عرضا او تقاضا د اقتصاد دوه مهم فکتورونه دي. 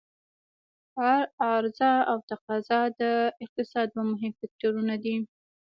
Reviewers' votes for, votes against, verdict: 2, 0, accepted